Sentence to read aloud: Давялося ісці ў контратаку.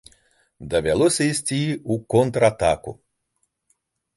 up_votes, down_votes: 2, 0